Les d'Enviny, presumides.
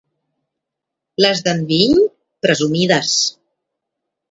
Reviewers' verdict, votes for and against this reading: accepted, 2, 0